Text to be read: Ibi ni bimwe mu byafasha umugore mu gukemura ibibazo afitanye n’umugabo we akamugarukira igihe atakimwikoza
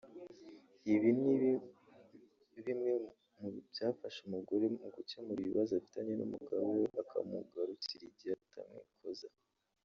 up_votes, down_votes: 0, 2